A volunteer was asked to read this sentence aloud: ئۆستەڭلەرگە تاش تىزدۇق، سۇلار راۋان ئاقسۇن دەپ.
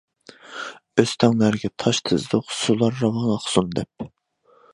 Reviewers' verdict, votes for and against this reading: accepted, 2, 0